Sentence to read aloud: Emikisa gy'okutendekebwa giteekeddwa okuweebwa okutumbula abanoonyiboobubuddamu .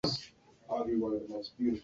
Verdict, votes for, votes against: rejected, 0, 2